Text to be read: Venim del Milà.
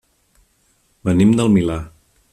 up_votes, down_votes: 3, 0